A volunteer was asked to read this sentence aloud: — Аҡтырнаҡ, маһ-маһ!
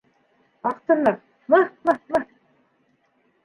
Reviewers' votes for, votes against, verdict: 0, 2, rejected